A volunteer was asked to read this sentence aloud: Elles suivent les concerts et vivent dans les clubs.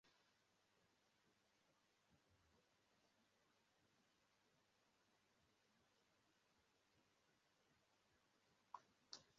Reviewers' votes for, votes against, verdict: 0, 2, rejected